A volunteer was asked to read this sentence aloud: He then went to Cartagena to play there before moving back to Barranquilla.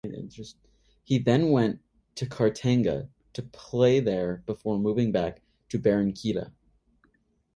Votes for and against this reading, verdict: 3, 6, rejected